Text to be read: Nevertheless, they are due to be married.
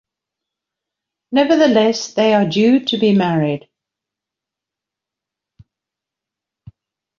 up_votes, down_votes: 2, 0